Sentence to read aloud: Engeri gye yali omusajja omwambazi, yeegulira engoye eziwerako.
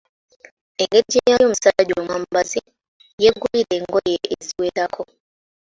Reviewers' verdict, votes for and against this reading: rejected, 0, 2